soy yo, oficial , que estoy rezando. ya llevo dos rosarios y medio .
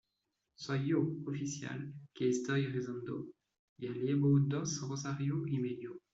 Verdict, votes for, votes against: rejected, 0, 2